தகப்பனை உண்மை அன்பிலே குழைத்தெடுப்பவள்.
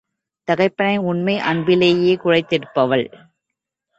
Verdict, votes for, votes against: rejected, 1, 2